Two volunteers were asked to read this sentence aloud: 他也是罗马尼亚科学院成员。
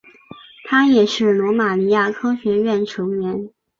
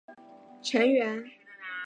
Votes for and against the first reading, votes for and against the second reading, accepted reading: 3, 0, 0, 2, first